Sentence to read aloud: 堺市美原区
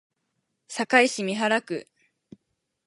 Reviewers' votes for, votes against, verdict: 8, 2, accepted